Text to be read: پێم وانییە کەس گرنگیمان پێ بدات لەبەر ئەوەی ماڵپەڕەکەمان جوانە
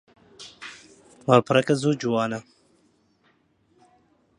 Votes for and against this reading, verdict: 0, 2, rejected